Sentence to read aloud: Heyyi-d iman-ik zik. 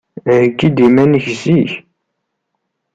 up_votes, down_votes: 2, 0